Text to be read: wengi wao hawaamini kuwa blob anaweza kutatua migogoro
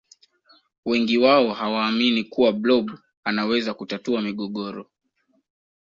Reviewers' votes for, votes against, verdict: 2, 0, accepted